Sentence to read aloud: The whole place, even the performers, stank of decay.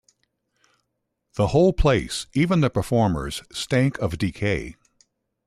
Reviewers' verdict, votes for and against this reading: accepted, 2, 0